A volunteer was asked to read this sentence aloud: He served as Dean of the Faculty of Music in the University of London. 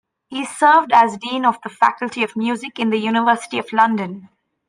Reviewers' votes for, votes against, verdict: 2, 0, accepted